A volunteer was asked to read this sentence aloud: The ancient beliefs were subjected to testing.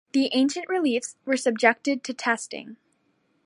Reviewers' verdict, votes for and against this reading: accepted, 2, 1